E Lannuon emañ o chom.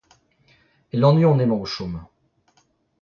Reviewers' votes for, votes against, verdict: 2, 1, accepted